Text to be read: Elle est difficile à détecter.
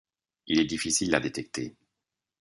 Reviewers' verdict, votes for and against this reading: rejected, 1, 2